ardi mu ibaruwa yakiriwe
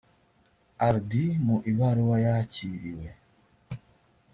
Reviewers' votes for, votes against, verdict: 2, 0, accepted